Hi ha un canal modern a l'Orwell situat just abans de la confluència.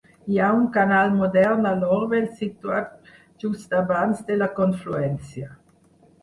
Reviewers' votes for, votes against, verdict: 0, 4, rejected